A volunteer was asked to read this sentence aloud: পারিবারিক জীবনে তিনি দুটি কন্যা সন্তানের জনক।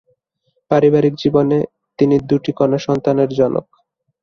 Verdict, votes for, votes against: accepted, 2, 0